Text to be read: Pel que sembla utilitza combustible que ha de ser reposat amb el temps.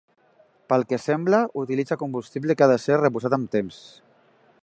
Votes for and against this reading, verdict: 0, 2, rejected